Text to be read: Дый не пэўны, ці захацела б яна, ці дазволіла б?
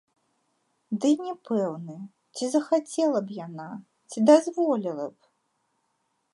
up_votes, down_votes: 2, 0